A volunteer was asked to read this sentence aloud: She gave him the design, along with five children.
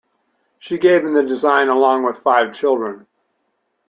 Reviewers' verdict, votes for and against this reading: accepted, 2, 0